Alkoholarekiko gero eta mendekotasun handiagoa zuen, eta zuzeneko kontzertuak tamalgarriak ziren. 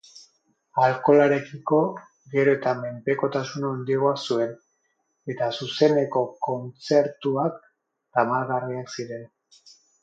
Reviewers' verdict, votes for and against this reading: rejected, 2, 2